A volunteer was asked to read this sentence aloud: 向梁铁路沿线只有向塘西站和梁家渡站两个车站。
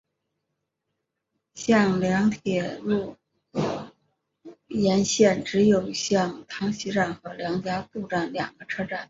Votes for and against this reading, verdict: 3, 1, accepted